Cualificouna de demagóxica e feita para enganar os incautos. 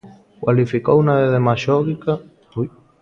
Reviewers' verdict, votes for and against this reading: rejected, 0, 2